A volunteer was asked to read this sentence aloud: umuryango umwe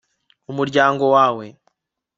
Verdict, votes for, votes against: accepted, 2, 0